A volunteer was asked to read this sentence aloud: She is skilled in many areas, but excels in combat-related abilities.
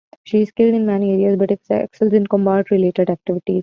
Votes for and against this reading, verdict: 1, 2, rejected